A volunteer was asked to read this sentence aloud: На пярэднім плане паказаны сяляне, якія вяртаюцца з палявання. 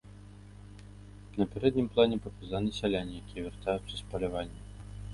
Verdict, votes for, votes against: rejected, 1, 2